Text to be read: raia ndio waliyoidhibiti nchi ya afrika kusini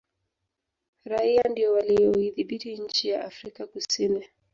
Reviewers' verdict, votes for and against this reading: accepted, 3, 1